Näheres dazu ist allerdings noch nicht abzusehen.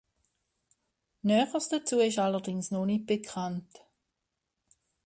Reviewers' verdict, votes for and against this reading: rejected, 0, 2